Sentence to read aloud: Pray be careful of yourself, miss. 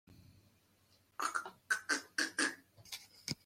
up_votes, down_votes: 0, 2